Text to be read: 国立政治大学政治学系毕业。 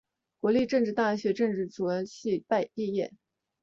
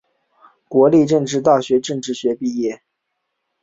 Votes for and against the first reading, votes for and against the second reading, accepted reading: 2, 1, 0, 2, first